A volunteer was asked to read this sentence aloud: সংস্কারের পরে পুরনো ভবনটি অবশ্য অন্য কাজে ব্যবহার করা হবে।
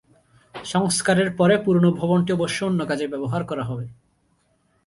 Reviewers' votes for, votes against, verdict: 4, 1, accepted